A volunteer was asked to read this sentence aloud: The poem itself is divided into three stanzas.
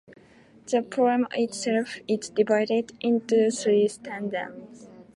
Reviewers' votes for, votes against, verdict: 0, 2, rejected